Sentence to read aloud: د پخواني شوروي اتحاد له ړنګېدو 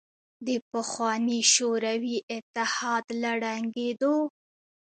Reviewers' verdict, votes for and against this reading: accepted, 2, 0